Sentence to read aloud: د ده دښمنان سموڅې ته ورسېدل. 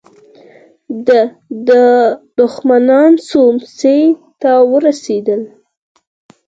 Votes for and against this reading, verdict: 2, 4, rejected